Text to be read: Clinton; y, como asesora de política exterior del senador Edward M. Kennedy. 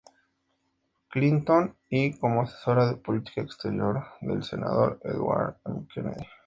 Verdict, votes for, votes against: accepted, 2, 0